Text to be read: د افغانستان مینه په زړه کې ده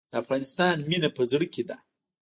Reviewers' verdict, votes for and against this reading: rejected, 0, 2